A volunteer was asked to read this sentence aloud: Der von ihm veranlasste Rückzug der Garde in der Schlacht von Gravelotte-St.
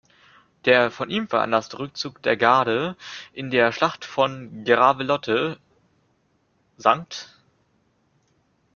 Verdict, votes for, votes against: rejected, 0, 2